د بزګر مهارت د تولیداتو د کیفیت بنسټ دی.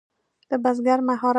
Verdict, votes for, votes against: rejected, 0, 2